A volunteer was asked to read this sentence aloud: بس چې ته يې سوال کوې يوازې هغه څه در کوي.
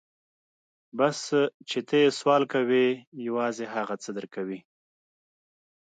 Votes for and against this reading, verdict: 2, 0, accepted